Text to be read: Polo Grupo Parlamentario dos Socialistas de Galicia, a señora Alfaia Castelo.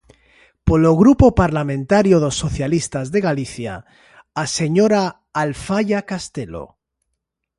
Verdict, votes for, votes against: accepted, 2, 0